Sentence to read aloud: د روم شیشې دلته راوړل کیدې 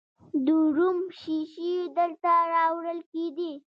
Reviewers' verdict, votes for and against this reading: rejected, 1, 2